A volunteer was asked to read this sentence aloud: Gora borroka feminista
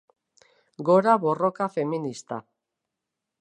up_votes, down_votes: 3, 0